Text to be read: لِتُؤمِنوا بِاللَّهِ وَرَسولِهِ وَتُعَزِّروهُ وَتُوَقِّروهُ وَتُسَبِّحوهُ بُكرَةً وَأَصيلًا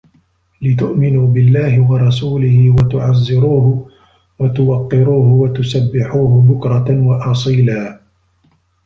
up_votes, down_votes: 2, 0